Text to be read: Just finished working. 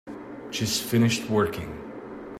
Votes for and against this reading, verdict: 2, 0, accepted